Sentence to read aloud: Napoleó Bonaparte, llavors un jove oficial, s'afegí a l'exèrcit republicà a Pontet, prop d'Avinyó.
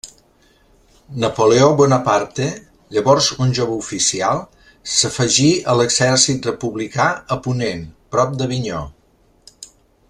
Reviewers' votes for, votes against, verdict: 1, 2, rejected